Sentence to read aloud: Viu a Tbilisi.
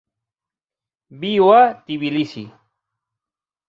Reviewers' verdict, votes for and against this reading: accepted, 6, 0